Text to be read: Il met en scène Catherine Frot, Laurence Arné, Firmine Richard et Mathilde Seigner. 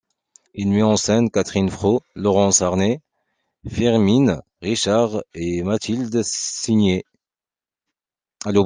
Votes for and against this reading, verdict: 0, 2, rejected